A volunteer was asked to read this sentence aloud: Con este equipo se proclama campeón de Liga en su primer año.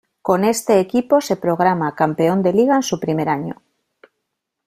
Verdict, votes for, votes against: rejected, 1, 2